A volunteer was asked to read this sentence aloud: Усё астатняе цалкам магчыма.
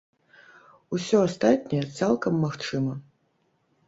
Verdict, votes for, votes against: accepted, 3, 0